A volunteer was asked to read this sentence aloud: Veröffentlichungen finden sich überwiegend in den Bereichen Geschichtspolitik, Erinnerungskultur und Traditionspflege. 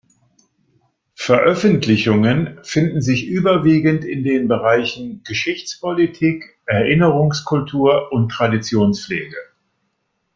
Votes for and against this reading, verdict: 2, 0, accepted